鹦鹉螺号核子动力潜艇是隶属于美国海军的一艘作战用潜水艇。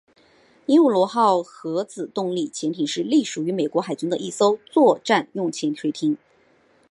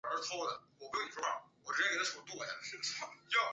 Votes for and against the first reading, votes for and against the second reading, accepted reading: 3, 0, 0, 5, first